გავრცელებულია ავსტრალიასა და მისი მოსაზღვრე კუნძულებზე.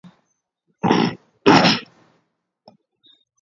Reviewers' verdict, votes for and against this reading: rejected, 0, 2